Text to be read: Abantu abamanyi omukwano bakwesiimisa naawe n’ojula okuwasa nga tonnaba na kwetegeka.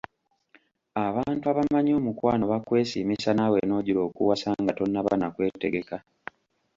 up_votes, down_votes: 2, 0